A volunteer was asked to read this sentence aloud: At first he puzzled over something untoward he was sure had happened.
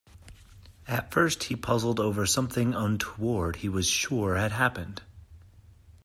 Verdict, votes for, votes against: accepted, 2, 1